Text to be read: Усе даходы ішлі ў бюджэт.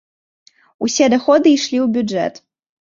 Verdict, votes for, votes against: accepted, 2, 0